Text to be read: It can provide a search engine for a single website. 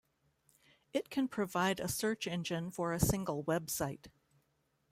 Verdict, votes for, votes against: accepted, 2, 0